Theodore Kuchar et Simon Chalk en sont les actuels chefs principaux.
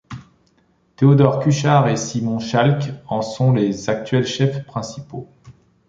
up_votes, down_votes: 2, 0